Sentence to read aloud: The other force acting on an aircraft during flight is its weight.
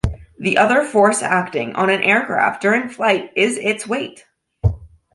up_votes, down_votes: 2, 0